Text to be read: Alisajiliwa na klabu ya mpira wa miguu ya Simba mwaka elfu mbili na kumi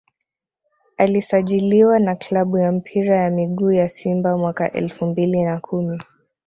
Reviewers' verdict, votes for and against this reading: rejected, 1, 2